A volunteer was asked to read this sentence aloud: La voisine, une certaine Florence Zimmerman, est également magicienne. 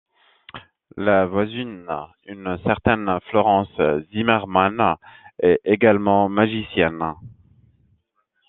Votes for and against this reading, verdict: 2, 0, accepted